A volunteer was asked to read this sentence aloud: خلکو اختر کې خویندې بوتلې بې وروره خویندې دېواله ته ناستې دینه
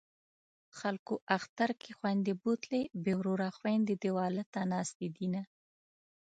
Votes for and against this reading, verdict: 2, 0, accepted